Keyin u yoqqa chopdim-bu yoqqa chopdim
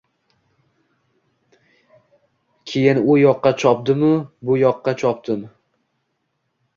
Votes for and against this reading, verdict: 2, 0, accepted